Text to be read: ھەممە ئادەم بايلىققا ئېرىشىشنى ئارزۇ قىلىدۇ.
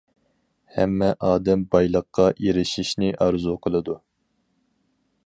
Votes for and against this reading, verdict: 4, 0, accepted